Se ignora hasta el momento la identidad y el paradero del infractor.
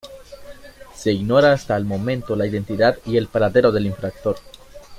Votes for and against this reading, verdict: 2, 0, accepted